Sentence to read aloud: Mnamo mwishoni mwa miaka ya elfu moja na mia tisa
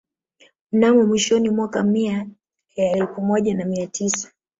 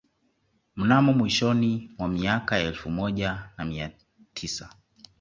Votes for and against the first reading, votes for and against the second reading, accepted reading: 1, 2, 2, 0, second